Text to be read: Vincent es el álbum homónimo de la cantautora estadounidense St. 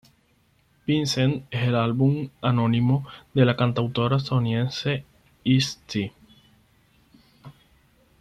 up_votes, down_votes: 0, 6